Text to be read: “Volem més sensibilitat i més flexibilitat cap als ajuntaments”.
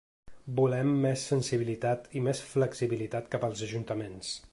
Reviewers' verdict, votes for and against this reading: accepted, 3, 0